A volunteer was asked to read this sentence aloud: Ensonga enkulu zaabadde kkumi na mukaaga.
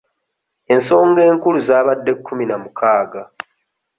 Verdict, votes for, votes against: accepted, 2, 0